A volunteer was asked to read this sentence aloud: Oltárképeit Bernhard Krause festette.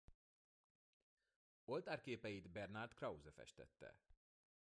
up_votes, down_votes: 0, 2